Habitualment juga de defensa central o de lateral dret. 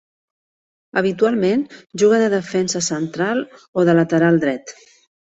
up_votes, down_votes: 2, 0